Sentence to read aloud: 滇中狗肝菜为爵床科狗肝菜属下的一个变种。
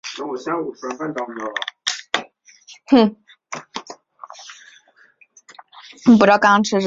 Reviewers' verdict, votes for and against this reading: rejected, 0, 2